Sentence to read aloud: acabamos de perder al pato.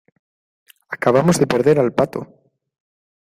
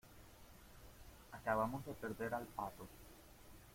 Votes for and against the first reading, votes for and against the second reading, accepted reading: 2, 0, 1, 2, first